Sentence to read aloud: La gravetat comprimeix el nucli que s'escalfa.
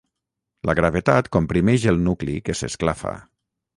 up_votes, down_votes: 3, 6